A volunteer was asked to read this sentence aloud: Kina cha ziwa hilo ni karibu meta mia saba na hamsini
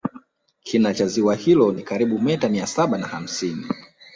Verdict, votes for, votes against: accepted, 2, 0